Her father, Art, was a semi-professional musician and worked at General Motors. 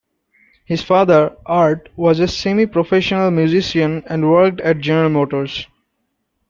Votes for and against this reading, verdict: 0, 2, rejected